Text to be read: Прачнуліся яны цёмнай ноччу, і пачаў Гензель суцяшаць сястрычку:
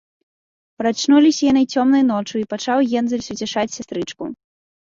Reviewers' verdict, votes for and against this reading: accepted, 2, 0